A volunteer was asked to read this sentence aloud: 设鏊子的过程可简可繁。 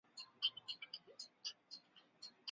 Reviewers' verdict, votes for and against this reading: rejected, 1, 2